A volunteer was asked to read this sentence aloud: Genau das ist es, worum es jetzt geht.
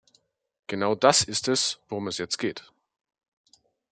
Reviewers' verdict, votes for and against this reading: accepted, 2, 0